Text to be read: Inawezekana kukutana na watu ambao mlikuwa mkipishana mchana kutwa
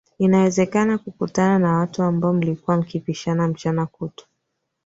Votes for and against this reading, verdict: 2, 3, rejected